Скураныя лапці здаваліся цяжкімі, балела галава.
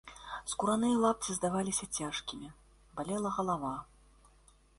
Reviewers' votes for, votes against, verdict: 2, 0, accepted